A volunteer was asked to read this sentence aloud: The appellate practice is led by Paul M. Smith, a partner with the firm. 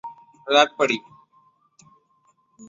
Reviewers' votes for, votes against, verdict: 0, 2, rejected